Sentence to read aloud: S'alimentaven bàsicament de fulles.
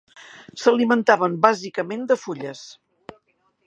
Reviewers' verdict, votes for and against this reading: accepted, 3, 0